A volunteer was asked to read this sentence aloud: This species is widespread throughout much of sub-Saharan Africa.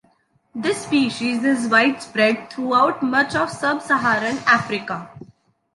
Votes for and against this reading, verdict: 2, 0, accepted